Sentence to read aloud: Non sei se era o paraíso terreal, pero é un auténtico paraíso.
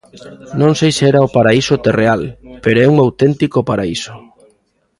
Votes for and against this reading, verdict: 0, 2, rejected